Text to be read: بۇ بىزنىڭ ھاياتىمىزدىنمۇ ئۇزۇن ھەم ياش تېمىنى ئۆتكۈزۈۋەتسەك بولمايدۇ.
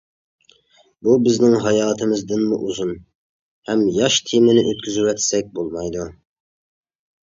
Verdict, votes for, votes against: accepted, 2, 0